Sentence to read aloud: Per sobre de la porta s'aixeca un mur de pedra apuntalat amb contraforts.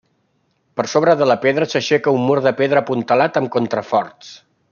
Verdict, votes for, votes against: rejected, 0, 2